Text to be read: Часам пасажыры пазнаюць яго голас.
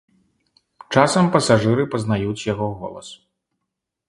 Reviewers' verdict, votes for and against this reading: accepted, 2, 0